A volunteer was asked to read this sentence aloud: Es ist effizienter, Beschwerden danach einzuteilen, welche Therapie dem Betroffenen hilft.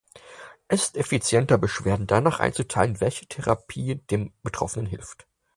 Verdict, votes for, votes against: accepted, 4, 2